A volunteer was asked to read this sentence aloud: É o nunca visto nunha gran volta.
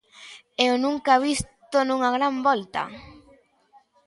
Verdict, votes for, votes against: accepted, 2, 0